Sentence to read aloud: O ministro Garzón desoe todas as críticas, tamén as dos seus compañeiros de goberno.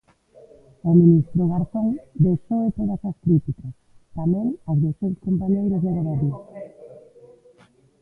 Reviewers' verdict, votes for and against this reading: rejected, 1, 2